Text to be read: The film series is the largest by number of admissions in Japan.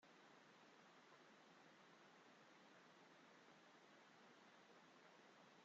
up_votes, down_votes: 0, 2